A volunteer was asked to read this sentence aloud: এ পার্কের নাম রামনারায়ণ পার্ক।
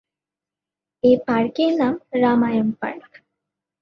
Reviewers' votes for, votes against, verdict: 0, 3, rejected